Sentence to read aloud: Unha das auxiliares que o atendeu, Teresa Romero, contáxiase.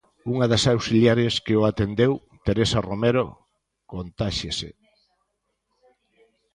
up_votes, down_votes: 2, 1